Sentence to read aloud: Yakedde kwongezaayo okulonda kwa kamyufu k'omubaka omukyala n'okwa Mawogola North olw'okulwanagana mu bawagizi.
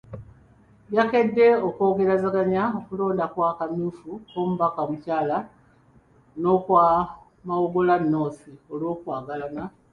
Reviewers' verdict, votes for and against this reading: rejected, 0, 2